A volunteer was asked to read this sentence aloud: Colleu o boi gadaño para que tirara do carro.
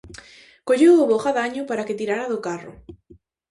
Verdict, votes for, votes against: rejected, 0, 2